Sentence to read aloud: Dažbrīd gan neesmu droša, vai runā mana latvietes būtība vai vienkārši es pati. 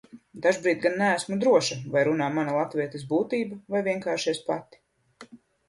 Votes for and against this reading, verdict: 2, 0, accepted